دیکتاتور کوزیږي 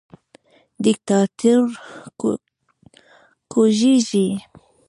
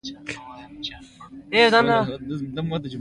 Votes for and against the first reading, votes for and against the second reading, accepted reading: 2, 0, 1, 2, first